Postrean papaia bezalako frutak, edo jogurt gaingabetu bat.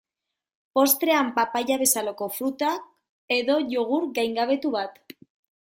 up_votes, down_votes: 2, 1